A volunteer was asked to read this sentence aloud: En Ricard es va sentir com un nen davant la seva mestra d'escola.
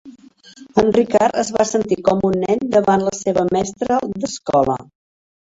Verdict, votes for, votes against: rejected, 0, 2